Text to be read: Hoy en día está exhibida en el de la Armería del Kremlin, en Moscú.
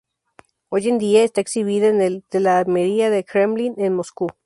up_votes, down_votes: 0, 2